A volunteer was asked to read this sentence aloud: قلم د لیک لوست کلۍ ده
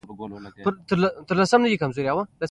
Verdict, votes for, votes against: rejected, 1, 2